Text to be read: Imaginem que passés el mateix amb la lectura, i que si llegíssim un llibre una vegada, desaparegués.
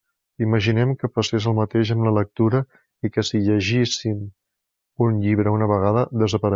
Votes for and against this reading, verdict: 1, 2, rejected